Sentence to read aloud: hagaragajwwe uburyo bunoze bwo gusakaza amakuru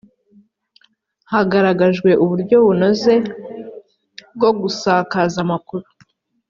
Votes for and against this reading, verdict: 2, 0, accepted